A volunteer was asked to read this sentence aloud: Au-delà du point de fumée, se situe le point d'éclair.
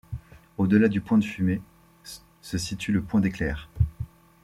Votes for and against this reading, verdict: 1, 2, rejected